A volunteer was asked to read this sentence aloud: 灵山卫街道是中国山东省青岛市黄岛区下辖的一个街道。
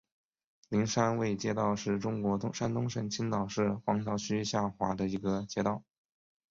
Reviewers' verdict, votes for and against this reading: accepted, 2, 1